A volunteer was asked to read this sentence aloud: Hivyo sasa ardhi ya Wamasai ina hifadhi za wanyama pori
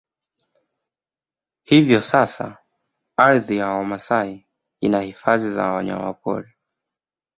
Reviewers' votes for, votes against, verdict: 1, 2, rejected